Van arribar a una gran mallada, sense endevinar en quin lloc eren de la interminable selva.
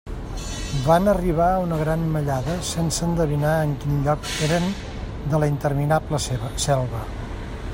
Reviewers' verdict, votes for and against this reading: rejected, 0, 2